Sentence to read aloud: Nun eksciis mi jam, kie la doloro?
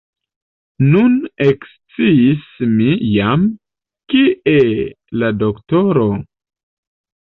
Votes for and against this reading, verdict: 0, 2, rejected